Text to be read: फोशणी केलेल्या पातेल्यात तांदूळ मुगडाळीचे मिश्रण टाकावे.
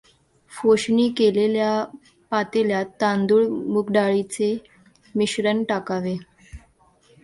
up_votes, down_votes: 2, 0